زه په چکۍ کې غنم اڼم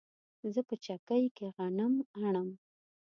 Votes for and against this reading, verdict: 2, 0, accepted